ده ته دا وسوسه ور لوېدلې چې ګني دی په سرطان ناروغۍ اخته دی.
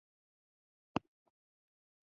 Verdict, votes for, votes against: rejected, 0, 2